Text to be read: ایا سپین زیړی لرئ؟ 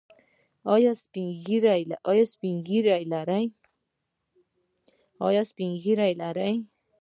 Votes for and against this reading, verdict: 1, 2, rejected